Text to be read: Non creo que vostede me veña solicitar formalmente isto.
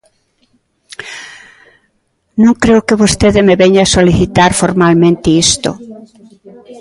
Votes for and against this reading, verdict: 1, 2, rejected